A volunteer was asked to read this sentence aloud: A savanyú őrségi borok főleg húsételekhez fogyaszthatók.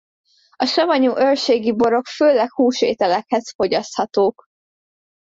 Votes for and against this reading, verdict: 2, 0, accepted